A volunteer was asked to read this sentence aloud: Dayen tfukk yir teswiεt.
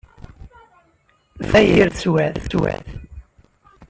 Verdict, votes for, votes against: rejected, 1, 2